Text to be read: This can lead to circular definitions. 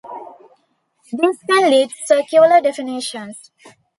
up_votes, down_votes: 1, 2